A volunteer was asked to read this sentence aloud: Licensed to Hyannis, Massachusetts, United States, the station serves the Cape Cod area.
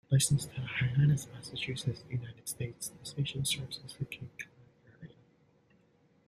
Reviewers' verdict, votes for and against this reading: rejected, 0, 2